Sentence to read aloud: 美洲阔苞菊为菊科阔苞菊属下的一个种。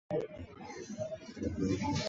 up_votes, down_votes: 0, 2